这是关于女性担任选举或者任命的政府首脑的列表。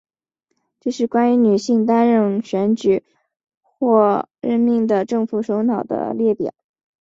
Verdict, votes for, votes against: rejected, 3, 4